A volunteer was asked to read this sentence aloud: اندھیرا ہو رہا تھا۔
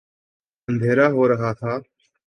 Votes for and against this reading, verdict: 2, 0, accepted